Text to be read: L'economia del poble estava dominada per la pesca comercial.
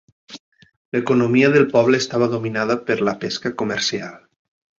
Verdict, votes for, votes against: accepted, 3, 0